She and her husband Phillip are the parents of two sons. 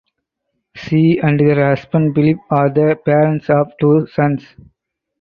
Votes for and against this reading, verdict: 2, 2, rejected